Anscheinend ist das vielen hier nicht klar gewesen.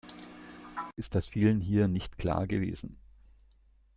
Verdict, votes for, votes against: rejected, 0, 2